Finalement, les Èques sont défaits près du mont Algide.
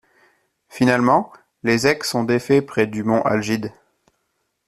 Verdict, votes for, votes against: rejected, 0, 2